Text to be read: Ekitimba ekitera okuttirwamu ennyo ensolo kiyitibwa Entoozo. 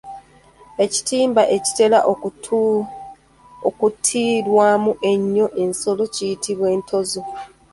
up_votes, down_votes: 1, 2